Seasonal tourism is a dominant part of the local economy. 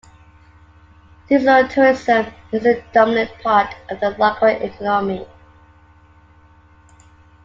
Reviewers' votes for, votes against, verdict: 2, 0, accepted